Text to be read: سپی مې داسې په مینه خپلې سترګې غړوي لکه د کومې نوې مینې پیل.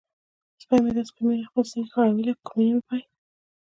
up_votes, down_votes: 1, 2